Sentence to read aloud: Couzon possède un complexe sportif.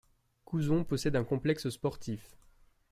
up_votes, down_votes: 2, 0